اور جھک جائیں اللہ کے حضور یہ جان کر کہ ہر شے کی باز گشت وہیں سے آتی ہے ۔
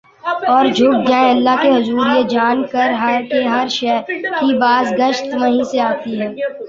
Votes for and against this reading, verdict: 0, 2, rejected